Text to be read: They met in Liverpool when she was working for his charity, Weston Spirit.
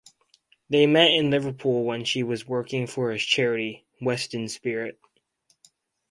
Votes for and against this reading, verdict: 4, 0, accepted